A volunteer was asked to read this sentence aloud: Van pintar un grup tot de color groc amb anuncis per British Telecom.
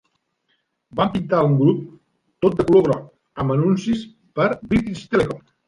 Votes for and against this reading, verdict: 2, 0, accepted